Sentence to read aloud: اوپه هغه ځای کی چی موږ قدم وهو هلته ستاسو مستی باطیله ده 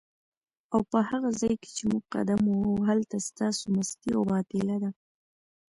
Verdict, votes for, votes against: rejected, 0, 3